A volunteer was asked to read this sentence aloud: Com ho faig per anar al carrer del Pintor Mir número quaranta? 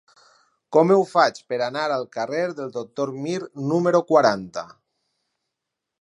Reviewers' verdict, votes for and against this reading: rejected, 0, 4